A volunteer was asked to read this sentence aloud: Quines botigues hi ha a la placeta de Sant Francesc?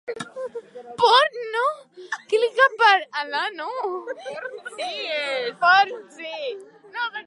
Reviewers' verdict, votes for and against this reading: rejected, 0, 2